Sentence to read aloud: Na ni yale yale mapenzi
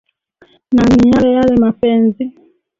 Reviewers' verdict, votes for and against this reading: rejected, 1, 2